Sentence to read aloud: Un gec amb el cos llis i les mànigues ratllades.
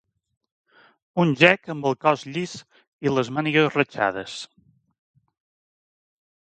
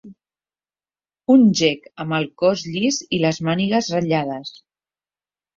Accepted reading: second